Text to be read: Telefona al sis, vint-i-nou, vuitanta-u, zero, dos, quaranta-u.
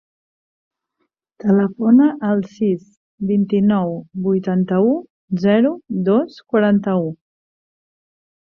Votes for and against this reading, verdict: 3, 0, accepted